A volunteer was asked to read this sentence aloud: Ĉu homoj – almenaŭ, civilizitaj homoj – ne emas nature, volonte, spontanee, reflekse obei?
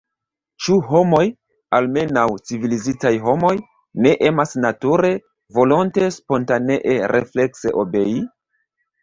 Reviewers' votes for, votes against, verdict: 1, 2, rejected